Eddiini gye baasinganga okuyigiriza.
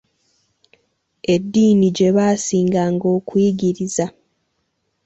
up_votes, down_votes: 2, 0